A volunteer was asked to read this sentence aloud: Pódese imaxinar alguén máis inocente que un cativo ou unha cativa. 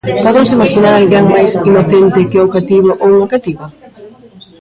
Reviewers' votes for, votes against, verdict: 0, 2, rejected